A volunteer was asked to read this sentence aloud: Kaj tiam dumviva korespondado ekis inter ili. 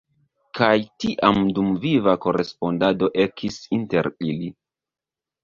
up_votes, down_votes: 2, 3